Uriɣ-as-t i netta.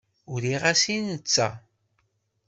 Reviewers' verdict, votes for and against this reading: accepted, 2, 0